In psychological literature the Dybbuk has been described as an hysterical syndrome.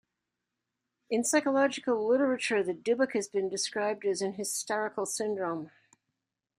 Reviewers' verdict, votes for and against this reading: accepted, 2, 0